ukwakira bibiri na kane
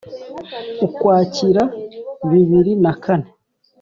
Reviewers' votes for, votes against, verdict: 3, 0, accepted